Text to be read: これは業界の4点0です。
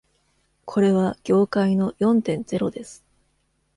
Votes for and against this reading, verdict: 0, 2, rejected